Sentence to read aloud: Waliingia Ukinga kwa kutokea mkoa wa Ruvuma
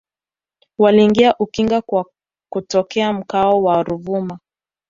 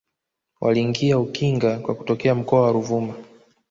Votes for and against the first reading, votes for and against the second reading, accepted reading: 1, 2, 2, 0, second